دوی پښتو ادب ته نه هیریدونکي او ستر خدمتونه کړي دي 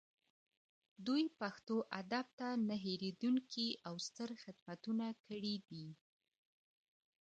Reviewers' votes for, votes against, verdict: 2, 1, accepted